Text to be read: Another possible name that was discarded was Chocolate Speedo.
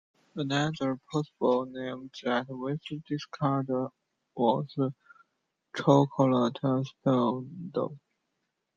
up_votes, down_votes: 0, 2